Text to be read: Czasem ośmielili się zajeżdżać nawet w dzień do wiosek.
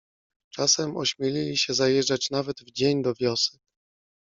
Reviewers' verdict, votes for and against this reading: accepted, 2, 0